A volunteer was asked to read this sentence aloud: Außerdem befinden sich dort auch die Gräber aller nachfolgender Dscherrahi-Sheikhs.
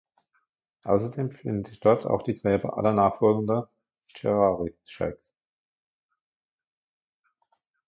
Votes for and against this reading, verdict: 1, 2, rejected